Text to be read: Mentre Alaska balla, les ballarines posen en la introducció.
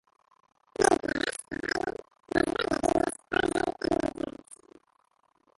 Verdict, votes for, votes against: rejected, 0, 2